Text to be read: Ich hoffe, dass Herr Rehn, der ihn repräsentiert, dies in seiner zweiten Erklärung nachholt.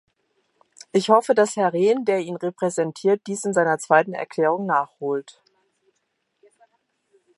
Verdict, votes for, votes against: accepted, 2, 0